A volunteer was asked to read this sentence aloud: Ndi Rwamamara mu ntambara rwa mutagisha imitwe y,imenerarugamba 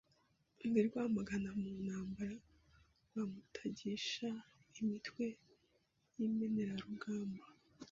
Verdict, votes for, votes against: rejected, 0, 2